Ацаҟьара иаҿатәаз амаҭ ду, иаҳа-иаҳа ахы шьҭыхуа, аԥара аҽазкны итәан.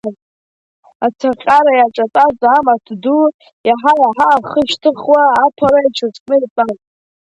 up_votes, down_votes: 0, 2